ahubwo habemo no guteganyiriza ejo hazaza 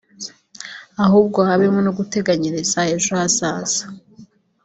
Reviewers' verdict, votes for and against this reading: accepted, 2, 0